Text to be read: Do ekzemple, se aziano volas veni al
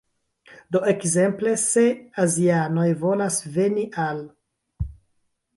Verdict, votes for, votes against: rejected, 0, 2